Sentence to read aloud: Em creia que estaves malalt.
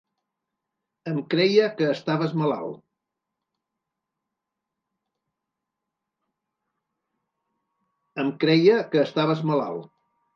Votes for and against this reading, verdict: 1, 2, rejected